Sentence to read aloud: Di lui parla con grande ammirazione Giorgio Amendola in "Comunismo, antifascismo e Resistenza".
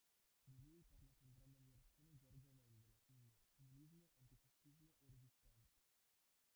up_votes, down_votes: 0, 2